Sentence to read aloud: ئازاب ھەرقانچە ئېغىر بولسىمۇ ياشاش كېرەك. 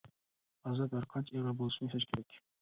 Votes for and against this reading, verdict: 0, 2, rejected